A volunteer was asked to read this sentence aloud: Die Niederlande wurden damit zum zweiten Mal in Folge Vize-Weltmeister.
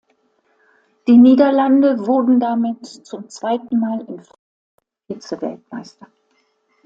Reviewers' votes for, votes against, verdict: 1, 2, rejected